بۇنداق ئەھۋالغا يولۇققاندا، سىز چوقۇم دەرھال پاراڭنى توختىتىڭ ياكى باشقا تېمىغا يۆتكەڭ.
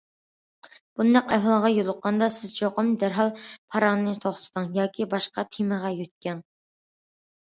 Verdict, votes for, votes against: accepted, 2, 0